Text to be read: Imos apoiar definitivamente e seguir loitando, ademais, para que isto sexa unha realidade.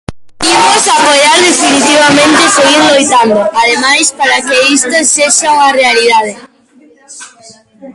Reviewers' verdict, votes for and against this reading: rejected, 0, 2